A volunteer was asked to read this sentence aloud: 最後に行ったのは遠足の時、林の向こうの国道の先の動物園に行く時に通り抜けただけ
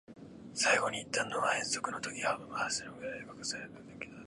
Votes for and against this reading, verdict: 2, 3, rejected